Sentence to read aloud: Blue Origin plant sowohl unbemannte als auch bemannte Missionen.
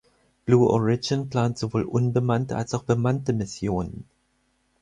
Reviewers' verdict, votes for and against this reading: accepted, 4, 0